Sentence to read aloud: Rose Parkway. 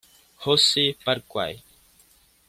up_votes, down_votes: 1, 2